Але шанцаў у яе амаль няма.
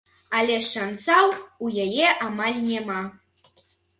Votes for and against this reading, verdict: 0, 3, rejected